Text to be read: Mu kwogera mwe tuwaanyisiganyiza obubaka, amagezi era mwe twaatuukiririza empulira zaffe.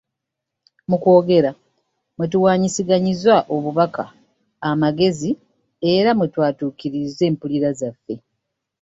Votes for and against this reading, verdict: 2, 0, accepted